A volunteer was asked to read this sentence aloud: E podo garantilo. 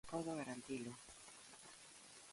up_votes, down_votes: 0, 2